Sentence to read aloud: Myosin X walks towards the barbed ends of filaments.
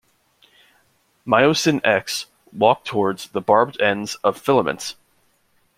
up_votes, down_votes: 0, 2